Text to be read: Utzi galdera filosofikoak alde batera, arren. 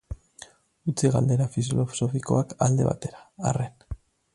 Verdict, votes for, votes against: rejected, 0, 2